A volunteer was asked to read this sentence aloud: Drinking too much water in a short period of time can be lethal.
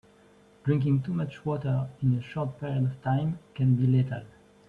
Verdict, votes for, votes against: rejected, 1, 2